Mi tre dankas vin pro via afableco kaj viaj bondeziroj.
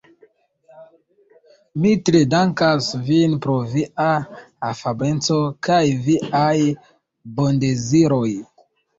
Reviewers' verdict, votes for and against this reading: rejected, 1, 2